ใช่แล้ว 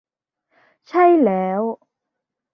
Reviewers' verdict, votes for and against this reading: accepted, 2, 0